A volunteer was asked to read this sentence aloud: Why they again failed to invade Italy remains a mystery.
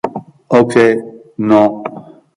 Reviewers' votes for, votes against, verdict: 0, 2, rejected